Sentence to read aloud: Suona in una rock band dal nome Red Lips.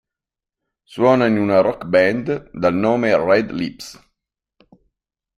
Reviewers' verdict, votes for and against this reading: rejected, 0, 2